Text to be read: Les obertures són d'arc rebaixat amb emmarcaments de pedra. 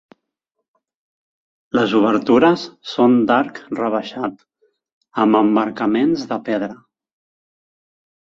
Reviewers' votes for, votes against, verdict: 2, 0, accepted